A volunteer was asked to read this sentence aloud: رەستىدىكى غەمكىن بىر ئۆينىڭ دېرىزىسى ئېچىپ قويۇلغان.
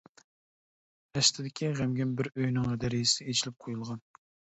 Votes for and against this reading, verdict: 0, 2, rejected